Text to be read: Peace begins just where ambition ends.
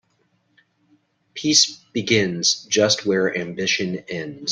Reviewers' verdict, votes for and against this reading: accepted, 2, 0